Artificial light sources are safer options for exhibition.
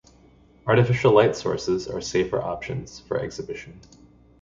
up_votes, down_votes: 2, 0